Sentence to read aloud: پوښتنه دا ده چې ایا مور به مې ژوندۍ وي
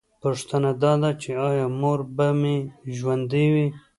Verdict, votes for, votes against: accepted, 2, 0